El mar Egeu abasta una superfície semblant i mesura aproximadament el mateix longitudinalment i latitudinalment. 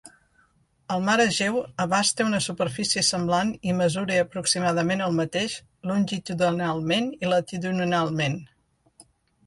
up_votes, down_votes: 1, 2